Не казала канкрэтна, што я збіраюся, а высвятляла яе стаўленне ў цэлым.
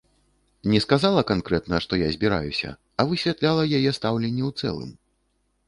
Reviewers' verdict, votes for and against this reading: rejected, 0, 2